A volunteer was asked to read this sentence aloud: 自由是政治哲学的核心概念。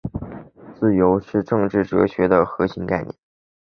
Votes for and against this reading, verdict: 2, 0, accepted